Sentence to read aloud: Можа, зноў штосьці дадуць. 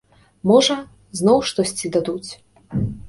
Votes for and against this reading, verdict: 2, 0, accepted